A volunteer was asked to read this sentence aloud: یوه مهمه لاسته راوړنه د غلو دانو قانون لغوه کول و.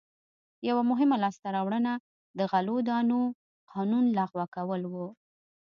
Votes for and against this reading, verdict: 2, 0, accepted